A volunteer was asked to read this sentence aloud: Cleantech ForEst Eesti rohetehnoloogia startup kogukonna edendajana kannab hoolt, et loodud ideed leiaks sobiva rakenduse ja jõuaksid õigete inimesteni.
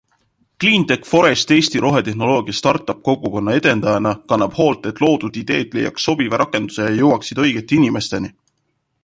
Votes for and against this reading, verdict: 2, 0, accepted